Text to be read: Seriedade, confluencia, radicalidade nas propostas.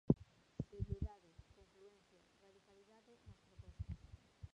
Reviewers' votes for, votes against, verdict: 0, 2, rejected